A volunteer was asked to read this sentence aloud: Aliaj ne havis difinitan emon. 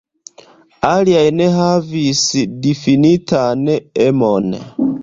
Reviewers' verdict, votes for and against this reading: accepted, 2, 0